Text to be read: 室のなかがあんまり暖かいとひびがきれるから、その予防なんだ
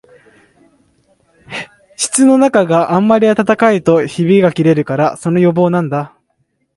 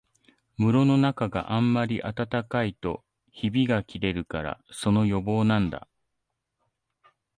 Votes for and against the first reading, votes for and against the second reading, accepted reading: 0, 2, 2, 0, second